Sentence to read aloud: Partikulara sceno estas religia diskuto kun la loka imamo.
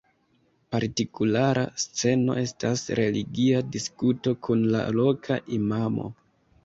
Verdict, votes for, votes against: accepted, 2, 0